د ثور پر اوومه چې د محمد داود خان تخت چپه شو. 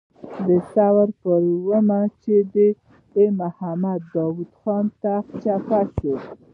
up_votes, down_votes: 1, 2